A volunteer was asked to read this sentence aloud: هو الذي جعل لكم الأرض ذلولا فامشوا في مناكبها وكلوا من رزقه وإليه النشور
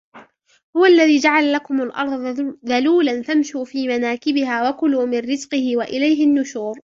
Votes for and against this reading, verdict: 2, 1, accepted